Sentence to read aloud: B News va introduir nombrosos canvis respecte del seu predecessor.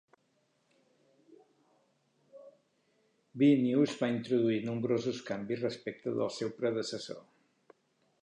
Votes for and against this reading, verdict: 2, 1, accepted